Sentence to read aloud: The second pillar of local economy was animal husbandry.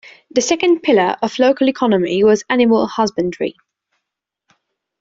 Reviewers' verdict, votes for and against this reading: accepted, 2, 0